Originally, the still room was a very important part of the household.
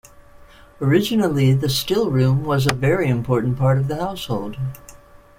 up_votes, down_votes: 2, 0